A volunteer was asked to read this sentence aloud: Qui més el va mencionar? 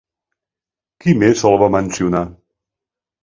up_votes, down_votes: 2, 0